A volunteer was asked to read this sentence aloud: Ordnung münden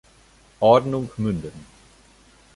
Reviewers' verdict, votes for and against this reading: accepted, 2, 0